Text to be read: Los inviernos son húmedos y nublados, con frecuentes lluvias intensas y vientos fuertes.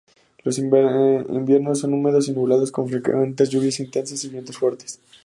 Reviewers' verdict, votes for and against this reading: rejected, 0, 2